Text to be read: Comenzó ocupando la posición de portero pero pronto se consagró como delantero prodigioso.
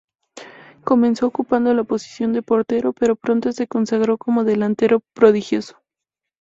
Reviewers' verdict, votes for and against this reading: accepted, 2, 0